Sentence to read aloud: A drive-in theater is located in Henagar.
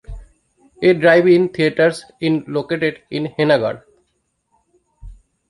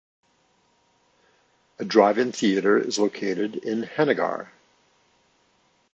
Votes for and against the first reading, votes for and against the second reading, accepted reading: 0, 2, 2, 0, second